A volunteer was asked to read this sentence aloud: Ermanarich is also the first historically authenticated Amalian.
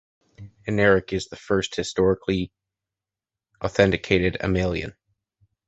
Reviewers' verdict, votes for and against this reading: accepted, 2, 1